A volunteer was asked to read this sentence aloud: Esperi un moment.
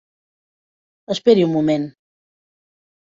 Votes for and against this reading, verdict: 3, 0, accepted